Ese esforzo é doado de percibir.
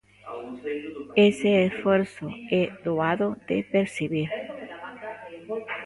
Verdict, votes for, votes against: rejected, 1, 2